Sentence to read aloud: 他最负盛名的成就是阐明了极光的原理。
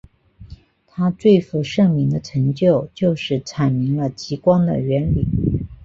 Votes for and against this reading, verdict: 4, 0, accepted